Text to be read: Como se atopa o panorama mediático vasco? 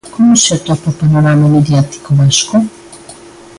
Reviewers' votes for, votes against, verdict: 2, 0, accepted